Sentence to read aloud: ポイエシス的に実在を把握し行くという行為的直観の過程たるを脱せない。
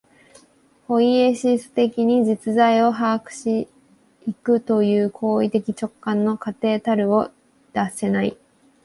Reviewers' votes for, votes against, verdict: 2, 0, accepted